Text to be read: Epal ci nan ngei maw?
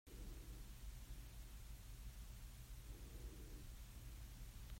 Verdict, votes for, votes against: rejected, 0, 2